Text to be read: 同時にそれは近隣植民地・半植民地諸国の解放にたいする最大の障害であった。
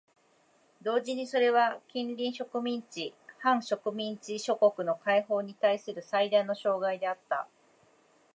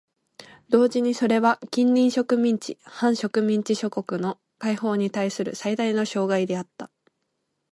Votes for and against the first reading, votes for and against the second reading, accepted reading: 1, 2, 2, 0, second